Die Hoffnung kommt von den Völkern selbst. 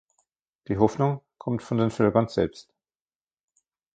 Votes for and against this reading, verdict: 2, 1, accepted